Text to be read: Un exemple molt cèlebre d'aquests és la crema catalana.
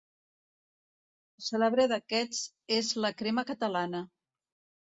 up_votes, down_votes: 0, 2